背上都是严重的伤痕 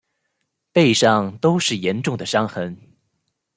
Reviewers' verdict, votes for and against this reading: accepted, 2, 0